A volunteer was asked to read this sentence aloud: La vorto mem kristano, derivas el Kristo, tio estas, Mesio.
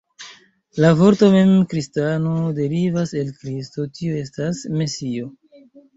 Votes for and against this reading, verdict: 1, 2, rejected